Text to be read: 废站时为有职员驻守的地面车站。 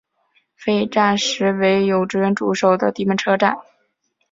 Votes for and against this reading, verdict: 3, 0, accepted